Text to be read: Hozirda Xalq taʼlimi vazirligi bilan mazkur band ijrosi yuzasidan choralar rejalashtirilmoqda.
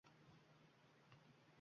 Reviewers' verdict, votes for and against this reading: rejected, 0, 2